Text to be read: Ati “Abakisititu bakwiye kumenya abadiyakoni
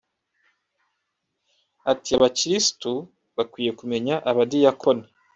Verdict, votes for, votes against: rejected, 1, 2